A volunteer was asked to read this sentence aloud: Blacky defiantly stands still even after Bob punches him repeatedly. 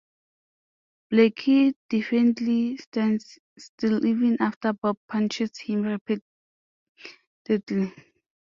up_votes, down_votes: 0, 2